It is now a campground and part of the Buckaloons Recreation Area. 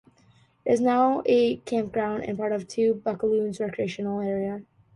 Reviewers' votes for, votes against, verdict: 1, 2, rejected